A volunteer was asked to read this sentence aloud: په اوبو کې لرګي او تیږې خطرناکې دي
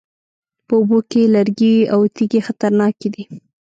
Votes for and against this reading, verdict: 1, 2, rejected